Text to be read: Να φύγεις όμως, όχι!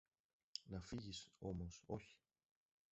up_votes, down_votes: 1, 2